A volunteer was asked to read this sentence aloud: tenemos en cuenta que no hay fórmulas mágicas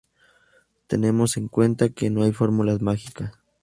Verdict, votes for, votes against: accepted, 2, 0